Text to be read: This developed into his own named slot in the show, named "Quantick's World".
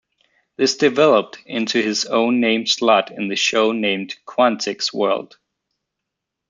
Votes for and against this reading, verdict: 2, 0, accepted